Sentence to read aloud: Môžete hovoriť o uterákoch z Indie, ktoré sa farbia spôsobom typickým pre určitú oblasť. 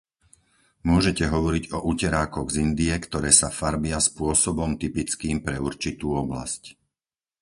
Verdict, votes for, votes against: accepted, 4, 0